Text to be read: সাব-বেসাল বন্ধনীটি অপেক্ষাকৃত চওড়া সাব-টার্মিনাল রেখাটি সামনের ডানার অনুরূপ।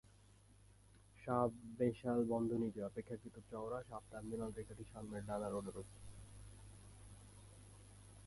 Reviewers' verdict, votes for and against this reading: rejected, 0, 2